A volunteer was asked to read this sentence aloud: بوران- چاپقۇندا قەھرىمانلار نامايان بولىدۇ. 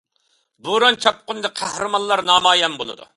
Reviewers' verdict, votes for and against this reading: accepted, 2, 0